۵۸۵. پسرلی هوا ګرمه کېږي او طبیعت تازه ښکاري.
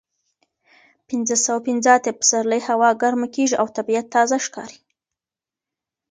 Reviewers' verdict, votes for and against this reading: rejected, 0, 2